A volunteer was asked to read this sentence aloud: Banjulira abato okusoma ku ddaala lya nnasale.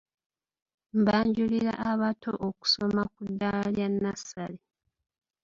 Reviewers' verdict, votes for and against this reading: rejected, 1, 2